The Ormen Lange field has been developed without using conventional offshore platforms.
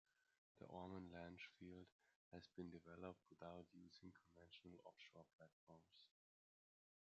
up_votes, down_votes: 1, 3